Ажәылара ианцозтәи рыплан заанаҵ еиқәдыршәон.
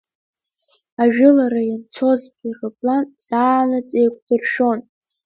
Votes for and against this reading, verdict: 1, 3, rejected